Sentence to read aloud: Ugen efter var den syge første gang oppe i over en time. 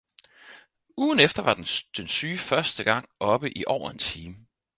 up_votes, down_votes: 0, 4